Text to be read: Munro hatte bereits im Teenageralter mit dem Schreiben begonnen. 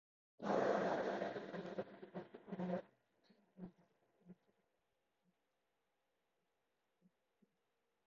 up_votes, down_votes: 0, 2